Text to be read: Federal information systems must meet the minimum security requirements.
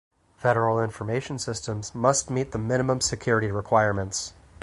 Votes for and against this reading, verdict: 4, 0, accepted